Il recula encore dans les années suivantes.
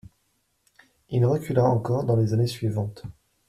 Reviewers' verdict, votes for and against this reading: accepted, 2, 0